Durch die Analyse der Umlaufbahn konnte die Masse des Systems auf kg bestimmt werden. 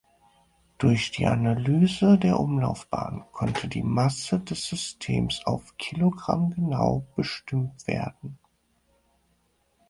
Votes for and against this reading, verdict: 0, 4, rejected